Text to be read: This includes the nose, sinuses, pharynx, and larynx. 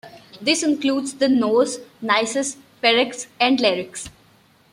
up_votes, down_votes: 1, 2